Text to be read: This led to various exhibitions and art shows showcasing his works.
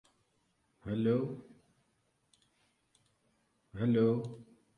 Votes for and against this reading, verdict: 0, 2, rejected